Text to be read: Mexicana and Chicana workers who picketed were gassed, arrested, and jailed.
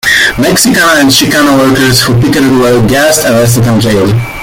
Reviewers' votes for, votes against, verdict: 1, 2, rejected